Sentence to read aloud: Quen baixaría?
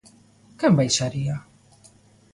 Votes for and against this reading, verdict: 2, 0, accepted